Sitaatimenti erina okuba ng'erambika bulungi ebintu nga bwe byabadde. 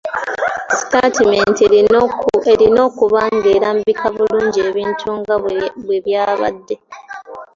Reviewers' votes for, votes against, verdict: 3, 0, accepted